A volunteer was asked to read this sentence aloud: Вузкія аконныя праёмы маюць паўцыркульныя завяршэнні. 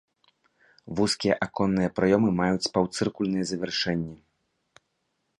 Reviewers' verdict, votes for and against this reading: accepted, 2, 0